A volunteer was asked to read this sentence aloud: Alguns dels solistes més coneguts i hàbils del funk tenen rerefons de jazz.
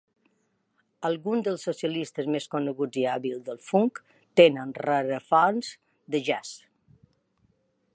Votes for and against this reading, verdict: 0, 2, rejected